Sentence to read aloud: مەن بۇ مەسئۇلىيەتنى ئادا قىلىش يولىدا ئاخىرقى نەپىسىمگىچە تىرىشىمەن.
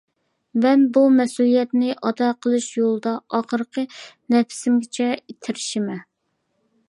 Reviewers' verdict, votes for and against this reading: rejected, 1, 2